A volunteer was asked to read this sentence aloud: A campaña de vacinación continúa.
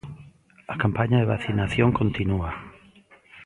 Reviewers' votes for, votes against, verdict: 1, 2, rejected